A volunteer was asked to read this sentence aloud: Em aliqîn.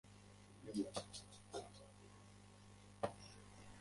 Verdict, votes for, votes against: rejected, 0, 2